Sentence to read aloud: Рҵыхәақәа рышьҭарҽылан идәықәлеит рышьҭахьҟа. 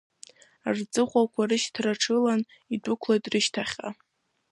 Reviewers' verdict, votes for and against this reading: accepted, 2, 1